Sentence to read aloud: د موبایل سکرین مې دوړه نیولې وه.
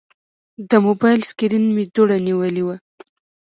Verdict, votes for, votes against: rejected, 1, 2